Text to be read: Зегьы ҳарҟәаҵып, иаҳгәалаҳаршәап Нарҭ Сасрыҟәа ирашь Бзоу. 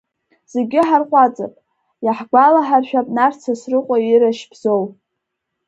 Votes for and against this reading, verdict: 0, 2, rejected